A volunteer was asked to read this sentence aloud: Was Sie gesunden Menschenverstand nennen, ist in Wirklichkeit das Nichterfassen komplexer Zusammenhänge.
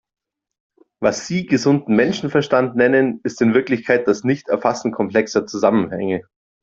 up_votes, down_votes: 2, 0